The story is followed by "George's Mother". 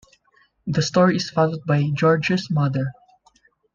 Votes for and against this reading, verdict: 2, 0, accepted